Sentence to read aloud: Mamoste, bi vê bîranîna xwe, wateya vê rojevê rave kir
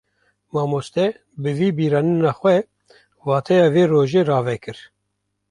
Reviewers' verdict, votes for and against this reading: rejected, 0, 2